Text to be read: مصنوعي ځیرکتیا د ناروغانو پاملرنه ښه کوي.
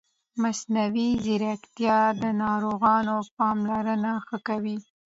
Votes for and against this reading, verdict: 2, 0, accepted